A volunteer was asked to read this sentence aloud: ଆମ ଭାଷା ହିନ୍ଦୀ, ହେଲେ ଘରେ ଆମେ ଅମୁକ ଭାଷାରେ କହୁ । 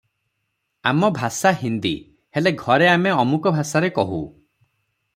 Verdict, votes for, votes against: rejected, 0, 3